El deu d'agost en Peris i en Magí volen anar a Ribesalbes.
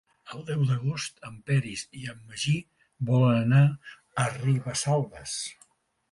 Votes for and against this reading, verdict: 3, 0, accepted